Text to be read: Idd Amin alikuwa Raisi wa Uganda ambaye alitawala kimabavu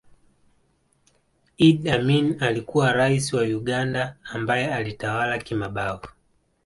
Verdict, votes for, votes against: rejected, 0, 2